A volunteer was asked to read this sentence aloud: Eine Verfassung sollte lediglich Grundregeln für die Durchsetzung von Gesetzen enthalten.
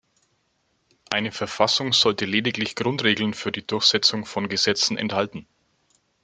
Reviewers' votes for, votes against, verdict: 2, 0, accepted